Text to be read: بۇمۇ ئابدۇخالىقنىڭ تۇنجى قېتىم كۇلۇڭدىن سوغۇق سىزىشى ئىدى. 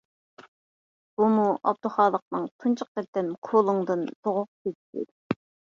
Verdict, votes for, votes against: rejected, 0, 2